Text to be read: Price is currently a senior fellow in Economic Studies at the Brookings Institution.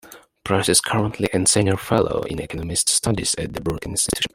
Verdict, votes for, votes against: rejected, 1, 2